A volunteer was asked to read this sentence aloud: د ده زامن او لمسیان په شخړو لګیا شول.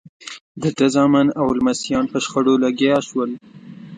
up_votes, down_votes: 2, 0